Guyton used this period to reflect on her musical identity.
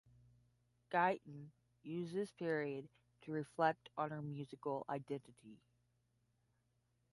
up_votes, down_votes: 5, 10